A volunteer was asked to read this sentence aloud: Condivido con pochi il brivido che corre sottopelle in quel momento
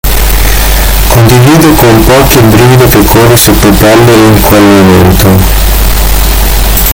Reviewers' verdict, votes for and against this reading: rejected, 1, 2